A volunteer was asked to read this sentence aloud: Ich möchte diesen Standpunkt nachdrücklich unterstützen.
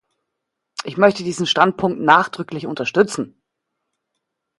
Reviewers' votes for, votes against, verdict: 2, 0, accepted